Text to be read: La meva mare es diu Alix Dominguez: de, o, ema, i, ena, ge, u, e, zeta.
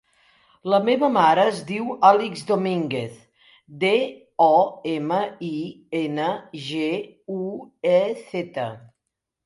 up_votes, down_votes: 1, 2